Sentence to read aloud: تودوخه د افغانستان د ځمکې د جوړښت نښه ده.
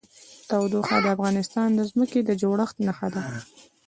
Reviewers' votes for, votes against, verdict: 0, 2, rejected